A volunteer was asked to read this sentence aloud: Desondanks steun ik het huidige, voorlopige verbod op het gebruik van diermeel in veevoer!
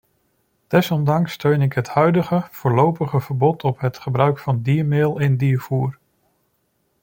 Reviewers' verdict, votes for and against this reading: rejected, 0, 2